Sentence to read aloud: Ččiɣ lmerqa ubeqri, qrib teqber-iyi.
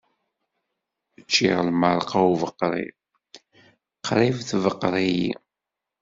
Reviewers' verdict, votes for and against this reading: rejected, 1, 2